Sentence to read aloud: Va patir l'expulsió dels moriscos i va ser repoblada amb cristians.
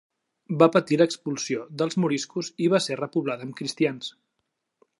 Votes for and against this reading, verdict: 2, 0, accepted